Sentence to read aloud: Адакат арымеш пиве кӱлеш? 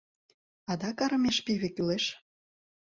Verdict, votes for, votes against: rejected, 1, 2